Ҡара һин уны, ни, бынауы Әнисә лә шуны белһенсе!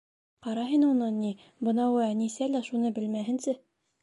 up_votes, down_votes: 1, 2